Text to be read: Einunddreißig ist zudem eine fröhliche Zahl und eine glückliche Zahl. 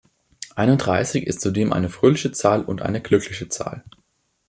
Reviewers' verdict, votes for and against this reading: accepted, 2, 0